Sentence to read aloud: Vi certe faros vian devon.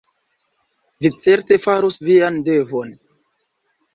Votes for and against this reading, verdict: 0, 2, rejected